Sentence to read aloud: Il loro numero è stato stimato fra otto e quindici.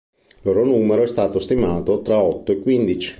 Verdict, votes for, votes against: rejected, 0, 2